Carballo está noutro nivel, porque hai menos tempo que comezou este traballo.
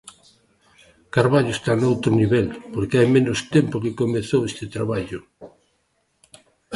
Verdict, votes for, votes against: accepted, 2, 0